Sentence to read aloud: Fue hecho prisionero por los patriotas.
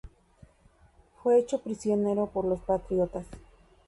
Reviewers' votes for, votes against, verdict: 2, 0, accepted